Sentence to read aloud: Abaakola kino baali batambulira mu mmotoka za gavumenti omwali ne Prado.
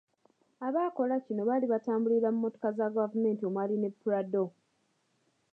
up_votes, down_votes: 2, 0